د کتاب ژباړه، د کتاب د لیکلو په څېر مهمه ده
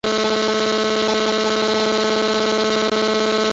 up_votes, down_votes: 0, 2